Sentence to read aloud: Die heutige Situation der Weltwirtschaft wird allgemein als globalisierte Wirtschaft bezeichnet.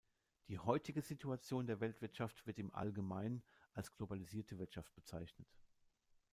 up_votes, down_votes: 1, 2